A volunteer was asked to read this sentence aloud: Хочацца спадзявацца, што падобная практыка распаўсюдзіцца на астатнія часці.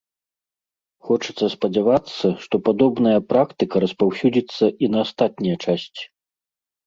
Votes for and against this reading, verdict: 0, 2, rejected